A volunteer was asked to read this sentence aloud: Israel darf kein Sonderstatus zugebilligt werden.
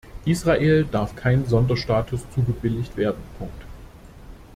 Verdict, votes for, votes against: rejected, 0, 2